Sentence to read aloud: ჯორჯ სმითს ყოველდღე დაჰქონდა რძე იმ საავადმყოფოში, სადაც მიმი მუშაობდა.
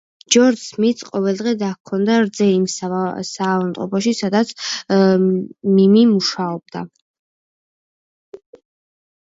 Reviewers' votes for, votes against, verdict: 0, 2, rejected